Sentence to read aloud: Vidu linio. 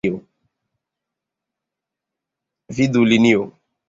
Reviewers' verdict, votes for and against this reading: accepted, 2, 0